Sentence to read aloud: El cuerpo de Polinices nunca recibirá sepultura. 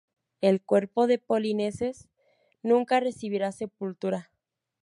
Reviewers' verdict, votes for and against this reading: rejected, 0, 2